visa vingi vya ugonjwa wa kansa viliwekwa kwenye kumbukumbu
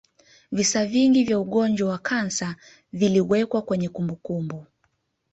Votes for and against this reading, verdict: 2, 0, accepted